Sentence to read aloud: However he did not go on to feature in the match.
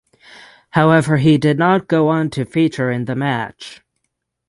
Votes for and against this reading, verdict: 6, 0, accepted